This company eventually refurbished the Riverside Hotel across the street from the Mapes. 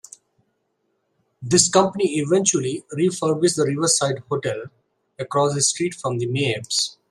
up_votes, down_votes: 1, 2